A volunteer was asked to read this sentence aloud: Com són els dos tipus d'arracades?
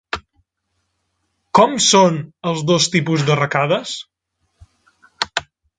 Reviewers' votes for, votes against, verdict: 2, 0, accepted